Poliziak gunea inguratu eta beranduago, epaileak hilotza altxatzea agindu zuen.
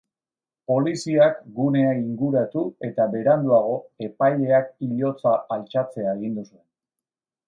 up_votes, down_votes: 2, 0